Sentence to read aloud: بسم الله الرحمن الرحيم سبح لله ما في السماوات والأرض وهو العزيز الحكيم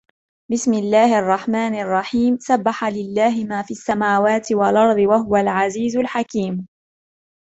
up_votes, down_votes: 2, 0